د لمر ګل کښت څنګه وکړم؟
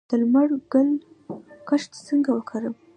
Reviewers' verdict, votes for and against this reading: accepted, 2, 0